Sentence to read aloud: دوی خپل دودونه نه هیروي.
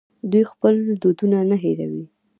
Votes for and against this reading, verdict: 2, 0, accepted